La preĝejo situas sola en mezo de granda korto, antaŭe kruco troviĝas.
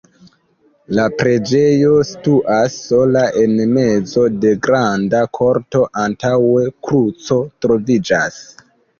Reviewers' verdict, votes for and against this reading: rejected, 0, 2